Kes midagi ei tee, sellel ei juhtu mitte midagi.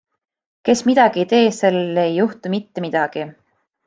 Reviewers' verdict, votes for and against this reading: accepted, 2, 0